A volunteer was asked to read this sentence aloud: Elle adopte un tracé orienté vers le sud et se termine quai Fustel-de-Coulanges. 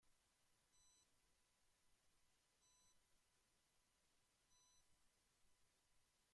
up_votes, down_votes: 0, 2